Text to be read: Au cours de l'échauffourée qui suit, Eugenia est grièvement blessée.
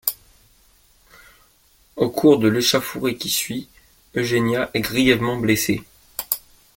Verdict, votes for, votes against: rejected, 1, 2